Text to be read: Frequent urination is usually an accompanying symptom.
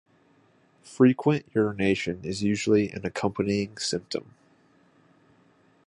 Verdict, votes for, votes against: accepted, 2, 0